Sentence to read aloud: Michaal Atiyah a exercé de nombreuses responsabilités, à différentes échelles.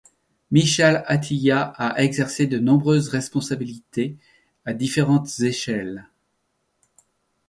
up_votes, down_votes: 2, 0